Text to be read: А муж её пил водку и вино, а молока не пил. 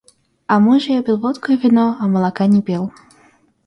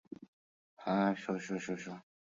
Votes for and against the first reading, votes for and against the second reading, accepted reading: 2, 0, 0, 2, first